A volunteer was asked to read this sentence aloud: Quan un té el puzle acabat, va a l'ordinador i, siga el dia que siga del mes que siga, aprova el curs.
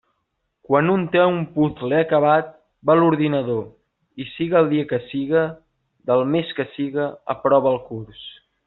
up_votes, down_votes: 1, 2